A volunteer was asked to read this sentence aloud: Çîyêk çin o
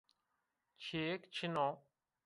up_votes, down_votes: 1, 2